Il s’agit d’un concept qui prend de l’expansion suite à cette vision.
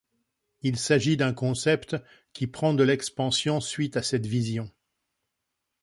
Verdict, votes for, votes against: accepted, 2, 0